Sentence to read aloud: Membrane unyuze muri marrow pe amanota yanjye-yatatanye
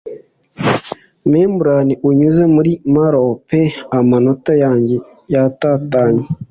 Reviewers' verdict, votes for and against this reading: accepted, 2, 0